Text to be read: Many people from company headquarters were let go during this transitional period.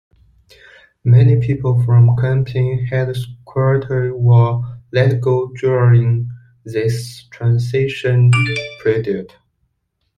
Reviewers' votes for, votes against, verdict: 0, 2, rejected